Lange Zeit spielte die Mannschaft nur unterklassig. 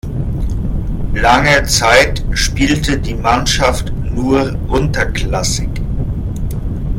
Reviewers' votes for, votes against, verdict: 2, 0, accepted